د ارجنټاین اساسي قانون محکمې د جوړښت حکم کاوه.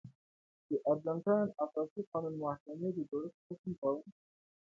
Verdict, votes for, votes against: accepted, 2, 0